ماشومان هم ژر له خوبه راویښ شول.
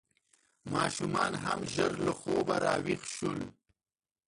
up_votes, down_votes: 2, 3